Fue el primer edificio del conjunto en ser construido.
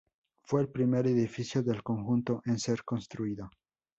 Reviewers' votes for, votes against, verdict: 2, 0, accepted